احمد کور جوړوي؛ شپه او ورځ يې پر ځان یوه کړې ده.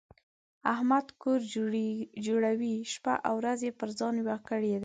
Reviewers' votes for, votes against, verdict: 2, 0, accepted